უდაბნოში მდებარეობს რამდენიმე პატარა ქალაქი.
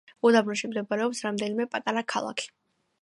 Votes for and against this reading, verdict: 2, 0, accepted